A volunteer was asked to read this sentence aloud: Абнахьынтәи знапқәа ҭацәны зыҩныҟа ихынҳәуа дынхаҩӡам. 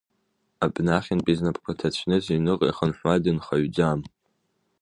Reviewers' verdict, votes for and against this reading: rejected, 1, 2